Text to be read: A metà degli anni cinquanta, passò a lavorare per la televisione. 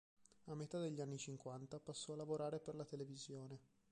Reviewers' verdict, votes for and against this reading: accepted, 2, 1